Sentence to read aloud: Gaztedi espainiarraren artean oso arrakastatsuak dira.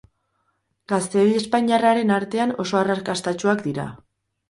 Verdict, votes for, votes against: rejected, 0, 2